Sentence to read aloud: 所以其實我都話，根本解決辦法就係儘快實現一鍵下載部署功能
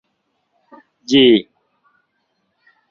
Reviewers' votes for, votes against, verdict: 0, 2, rejected